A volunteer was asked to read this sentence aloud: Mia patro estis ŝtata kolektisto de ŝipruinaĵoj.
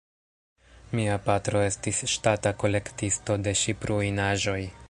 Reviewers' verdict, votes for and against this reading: rejected, 0, 2